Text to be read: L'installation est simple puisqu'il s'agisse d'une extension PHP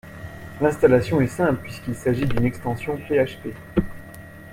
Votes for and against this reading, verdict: 2, 1, accepted